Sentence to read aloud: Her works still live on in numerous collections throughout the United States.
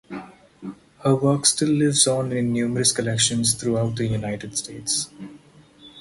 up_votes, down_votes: 4, 2